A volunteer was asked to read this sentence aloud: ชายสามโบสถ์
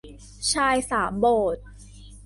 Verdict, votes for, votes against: accepted, 2, 1